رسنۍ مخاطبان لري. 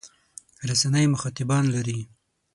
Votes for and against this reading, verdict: 6, 0, accepted